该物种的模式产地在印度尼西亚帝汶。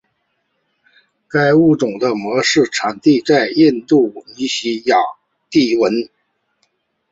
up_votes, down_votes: 4, 0